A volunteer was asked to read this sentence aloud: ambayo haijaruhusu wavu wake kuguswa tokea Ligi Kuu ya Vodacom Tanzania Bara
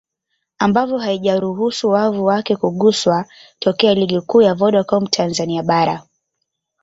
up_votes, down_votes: 2, 0